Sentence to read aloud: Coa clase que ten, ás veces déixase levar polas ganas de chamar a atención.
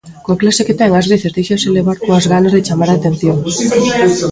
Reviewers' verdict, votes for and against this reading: rejected, 0, 3